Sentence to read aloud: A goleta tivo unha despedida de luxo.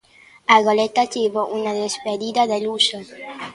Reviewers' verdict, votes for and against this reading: rejected, 1, 2